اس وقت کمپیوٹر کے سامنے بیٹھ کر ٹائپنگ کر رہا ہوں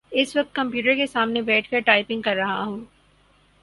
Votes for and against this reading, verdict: 4, 0, accepted